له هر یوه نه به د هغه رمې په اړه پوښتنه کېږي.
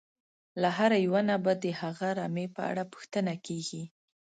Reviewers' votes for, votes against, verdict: 2, 0, accepted